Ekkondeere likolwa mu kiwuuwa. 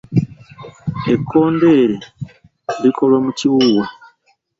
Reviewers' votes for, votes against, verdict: 2, 0, accepted